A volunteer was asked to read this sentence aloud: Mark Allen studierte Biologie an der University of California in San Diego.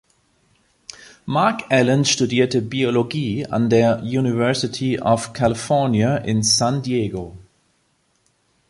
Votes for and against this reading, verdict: 2, 0, accepted